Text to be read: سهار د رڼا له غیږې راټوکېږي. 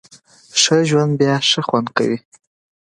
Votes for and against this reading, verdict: 1, 2, rejected